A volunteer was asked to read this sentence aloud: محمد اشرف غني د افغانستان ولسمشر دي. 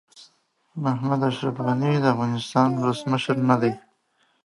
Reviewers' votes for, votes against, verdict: 0, 2, rejected